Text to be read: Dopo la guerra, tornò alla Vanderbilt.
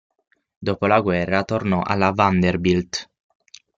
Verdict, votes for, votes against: accepted, 6, 0